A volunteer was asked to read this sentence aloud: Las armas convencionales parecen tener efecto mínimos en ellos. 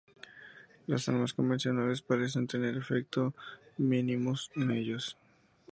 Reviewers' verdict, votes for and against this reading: accepted, 2, 0